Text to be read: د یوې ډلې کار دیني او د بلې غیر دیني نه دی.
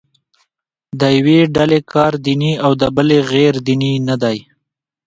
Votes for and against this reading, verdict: 2, 1, accepted